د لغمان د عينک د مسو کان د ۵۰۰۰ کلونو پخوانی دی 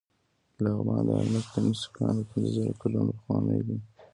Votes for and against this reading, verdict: 0, 2, rejected